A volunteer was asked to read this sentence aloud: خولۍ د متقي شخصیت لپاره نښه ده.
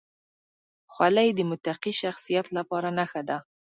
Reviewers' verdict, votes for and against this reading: accepted, 2, 0